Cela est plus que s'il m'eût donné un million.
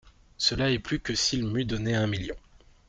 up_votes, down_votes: 2, 0